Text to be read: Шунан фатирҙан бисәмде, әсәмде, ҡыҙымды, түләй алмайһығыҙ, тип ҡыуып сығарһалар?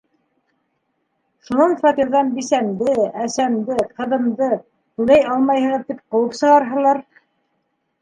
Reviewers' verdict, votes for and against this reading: accepted, 3, 1